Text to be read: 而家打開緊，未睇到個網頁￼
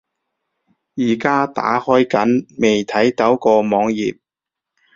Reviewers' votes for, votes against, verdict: 2, 0, accepted